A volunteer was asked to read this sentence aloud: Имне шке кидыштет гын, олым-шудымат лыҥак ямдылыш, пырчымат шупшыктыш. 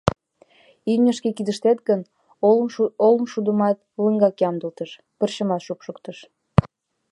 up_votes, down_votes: 1, 2